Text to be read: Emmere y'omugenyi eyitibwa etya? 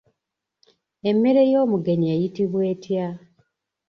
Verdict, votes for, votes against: rejected, 0, 2